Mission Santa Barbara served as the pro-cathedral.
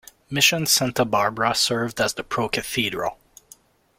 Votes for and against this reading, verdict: 2, 0, accepted